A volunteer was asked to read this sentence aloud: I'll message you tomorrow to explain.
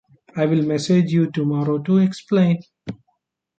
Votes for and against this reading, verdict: 1, 2, rejected